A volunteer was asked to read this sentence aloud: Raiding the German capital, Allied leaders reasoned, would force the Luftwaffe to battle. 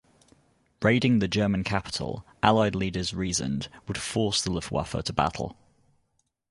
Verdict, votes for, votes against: accepted, 2, 0